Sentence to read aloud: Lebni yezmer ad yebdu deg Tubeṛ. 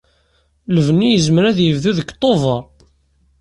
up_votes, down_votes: 2, 0